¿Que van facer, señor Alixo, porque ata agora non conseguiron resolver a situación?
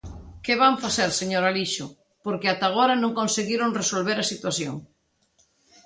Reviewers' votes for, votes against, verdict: 2, 0, accepted